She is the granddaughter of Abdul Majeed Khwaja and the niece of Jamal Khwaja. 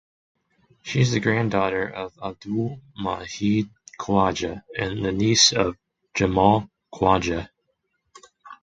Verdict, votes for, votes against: accepted, 8, 0